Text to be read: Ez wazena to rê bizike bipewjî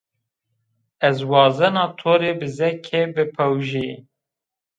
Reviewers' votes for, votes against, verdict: 1, 2, rejected